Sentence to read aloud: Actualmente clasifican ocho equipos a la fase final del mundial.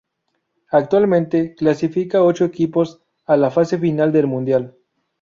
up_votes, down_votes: 0, 2